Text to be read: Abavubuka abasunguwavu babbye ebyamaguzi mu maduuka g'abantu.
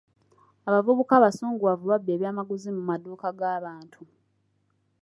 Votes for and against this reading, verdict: 2, 0, accepted